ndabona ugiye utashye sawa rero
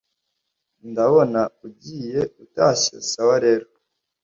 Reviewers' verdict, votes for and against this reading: accepted, 2, 0